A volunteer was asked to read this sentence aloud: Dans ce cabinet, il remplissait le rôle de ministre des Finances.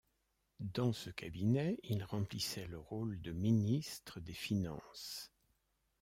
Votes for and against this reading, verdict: 2, 0, accepted